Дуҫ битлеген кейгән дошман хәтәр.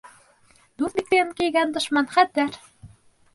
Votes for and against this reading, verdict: 0, 2, rejected